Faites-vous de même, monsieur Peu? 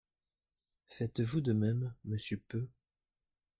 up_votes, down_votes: 2, 0